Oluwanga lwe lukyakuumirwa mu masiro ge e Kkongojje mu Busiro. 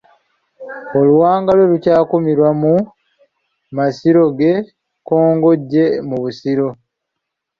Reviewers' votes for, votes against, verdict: 0, 2, rejected